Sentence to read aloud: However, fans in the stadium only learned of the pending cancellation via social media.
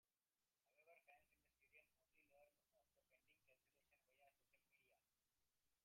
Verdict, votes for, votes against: rejected, 0, 2